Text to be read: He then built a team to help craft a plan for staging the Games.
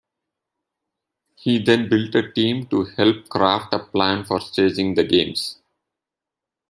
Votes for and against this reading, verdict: 2, 0, accepted